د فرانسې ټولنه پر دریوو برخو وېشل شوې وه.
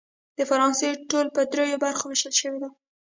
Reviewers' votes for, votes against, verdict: 1, 2, rejected